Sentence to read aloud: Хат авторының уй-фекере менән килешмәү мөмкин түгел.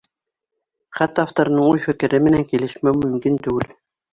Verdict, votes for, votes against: accepted, 2, 0